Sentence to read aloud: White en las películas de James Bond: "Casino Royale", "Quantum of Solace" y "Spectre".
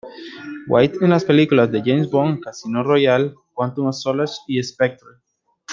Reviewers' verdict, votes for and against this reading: rejected, 0, 2